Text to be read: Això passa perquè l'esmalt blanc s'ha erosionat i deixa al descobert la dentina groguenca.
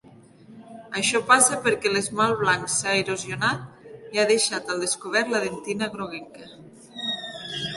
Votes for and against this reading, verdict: 0, 2, rejected